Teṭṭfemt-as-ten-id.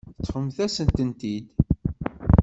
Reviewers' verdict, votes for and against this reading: rejected, 1, 2